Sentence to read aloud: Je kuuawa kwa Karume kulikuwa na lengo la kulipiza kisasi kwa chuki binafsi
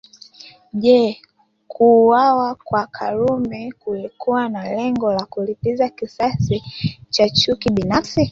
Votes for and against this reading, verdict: 0, 2, rejected